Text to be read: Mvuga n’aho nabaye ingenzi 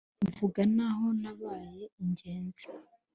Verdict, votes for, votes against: accepted, 2, 0